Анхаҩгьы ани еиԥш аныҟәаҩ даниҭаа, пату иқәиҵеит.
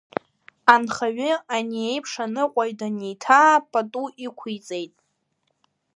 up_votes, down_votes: 1, 2